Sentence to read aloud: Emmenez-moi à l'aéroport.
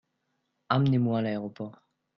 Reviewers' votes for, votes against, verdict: 2, 0, accepted